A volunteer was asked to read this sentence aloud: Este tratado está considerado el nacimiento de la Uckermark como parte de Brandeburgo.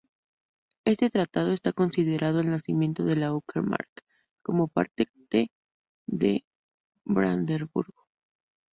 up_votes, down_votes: 2, 6